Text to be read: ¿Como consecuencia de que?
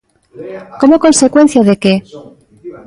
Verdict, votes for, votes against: rejected, 0, 2